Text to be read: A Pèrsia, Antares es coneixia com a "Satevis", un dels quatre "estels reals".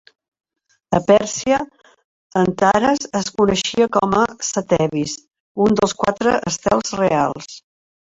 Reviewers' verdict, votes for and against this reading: rejected, 1, 2